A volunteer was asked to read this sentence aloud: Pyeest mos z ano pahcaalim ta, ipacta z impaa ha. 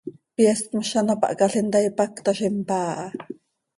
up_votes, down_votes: 2, 0